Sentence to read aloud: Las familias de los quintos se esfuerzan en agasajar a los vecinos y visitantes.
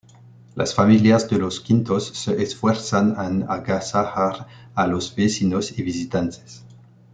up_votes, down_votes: 1, 2